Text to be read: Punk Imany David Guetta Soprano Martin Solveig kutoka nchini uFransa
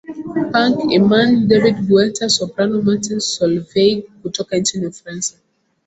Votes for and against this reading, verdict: 3, 0, accepted